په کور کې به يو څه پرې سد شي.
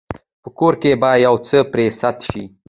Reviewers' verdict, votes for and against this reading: accepted, 2, 1